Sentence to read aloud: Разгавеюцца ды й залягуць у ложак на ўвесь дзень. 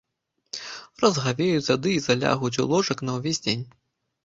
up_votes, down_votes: 2, 0